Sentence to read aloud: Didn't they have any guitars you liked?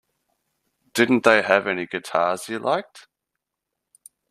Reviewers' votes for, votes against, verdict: 2, 0, accepted